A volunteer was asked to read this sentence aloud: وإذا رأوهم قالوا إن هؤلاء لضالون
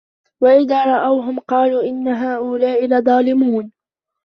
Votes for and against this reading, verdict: 0, 3, rejected